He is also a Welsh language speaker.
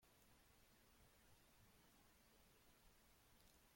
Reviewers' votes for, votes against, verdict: 0, 2, rejected